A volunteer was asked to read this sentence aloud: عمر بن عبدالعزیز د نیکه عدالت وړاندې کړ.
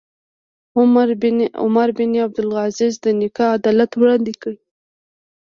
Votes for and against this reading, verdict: 1, 2, rejected